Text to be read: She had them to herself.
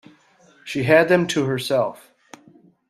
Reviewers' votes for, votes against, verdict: 2, 0, accepted